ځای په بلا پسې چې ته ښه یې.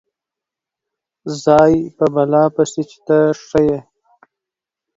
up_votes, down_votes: 2, 1